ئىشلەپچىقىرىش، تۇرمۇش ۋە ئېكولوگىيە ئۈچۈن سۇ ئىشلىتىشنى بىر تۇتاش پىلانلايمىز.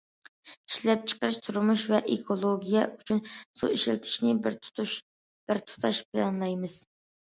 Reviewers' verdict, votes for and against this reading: rejected, 1, 2